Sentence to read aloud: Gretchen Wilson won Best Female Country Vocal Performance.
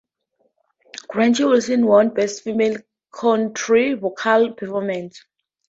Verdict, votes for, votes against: rejected, 0, 2